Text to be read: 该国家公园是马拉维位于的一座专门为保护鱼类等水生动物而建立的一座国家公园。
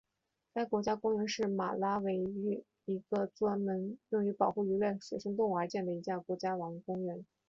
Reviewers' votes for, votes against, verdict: 1, 2, rejected